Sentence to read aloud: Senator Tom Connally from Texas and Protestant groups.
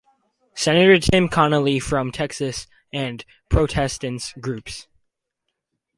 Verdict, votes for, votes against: rejected, 2, 4